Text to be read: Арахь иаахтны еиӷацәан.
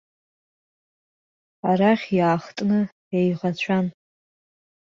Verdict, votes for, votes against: accepted, 2, 0